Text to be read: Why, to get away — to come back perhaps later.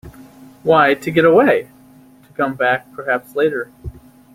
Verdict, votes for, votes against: accepted, 2, 0